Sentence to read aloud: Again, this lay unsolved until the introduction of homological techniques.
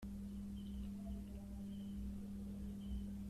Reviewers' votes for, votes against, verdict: 0, 2, rejected